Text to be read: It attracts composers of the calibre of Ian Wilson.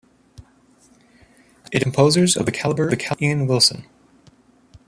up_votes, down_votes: 0, 2